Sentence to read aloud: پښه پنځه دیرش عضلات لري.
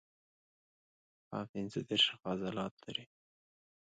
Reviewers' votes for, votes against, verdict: 1, 2, rejected